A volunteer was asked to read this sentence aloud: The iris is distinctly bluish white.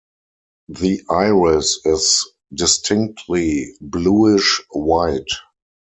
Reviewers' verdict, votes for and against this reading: accepted, 4, 0